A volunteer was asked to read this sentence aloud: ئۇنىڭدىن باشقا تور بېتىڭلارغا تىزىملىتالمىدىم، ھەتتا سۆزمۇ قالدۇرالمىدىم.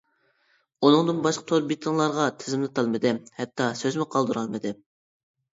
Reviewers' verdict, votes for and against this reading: accepted, 2, 0